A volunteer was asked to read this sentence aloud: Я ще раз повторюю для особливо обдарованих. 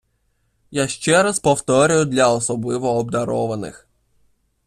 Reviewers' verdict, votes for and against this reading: accepted, 2, 0